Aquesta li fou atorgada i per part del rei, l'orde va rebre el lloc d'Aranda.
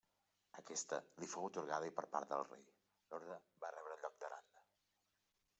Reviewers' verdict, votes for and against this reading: accepted, 2, 1